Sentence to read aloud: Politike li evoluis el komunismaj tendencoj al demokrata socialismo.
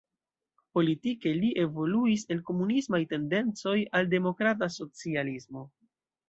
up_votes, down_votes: 2, 0